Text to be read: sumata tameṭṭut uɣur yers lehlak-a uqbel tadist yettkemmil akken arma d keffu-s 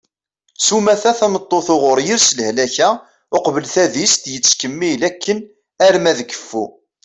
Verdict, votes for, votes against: rejected, 0, 2